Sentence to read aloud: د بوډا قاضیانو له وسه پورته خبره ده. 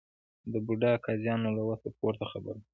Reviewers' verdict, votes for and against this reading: rejected, 1, 2